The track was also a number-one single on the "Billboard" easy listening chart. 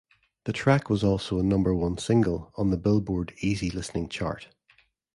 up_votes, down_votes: 2, 0